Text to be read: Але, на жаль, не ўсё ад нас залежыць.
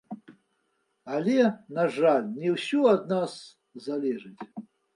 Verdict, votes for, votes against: accepted, 2, 0